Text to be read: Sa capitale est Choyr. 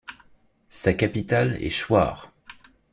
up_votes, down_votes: 2, 0